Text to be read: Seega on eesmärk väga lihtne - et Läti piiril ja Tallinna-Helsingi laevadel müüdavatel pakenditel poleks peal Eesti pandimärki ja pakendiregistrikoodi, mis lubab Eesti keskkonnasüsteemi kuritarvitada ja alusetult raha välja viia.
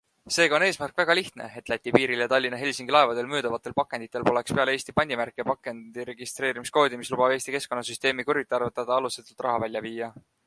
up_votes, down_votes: 1, 4